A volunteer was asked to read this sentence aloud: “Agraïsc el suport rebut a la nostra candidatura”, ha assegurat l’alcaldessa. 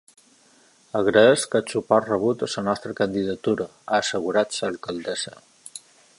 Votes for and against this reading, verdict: 2, 0, accepted